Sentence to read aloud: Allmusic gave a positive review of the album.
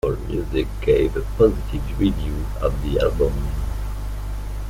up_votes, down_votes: 1, 2